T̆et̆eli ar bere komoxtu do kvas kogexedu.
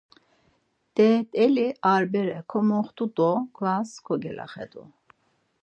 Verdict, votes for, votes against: rejected, 0, 4